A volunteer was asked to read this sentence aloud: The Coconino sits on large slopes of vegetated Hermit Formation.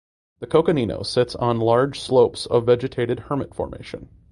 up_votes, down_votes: 3, 0